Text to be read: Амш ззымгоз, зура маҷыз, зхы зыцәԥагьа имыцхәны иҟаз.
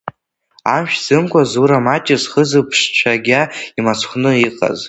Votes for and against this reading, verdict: 0, 2, rejected